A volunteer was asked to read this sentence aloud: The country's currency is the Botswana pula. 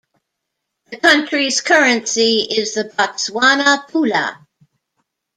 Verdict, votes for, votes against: accepted, 2, 0